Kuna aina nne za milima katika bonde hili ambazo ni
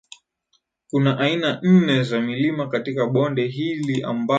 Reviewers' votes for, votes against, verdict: 0, 2, rejected